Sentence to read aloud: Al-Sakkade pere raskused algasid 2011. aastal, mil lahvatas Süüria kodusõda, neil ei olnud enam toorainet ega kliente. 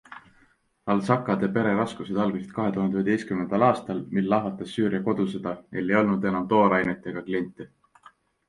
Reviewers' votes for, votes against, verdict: 0, 2, rejected